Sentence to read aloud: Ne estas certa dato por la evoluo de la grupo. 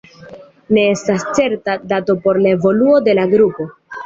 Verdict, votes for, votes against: accepted, 2, 0